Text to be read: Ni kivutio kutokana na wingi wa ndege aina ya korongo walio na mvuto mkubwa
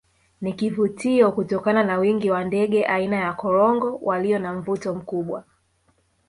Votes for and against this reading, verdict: 1, 2, rejected